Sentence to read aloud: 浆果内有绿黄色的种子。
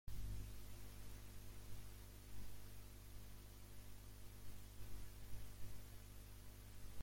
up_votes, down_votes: 0, 2